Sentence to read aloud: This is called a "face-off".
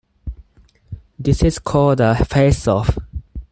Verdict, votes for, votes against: accepted, 4, 0